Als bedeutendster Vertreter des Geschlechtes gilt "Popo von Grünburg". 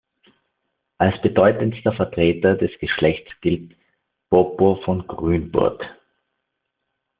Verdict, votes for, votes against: accepted, 2, 0